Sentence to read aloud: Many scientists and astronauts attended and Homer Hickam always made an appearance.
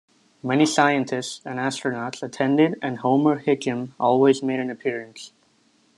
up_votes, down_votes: 2, 1